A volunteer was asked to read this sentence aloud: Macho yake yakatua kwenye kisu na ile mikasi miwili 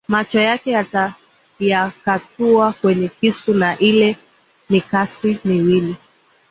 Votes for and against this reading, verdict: 6, 2, accepted